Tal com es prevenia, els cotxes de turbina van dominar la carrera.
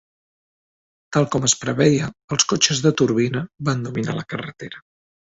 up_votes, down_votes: 0, 2